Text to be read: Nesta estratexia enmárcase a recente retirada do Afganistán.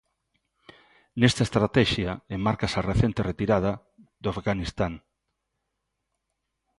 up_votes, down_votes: 2, 0